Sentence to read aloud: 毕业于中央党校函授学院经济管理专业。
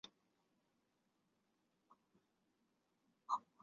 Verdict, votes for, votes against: rejected, 0, 2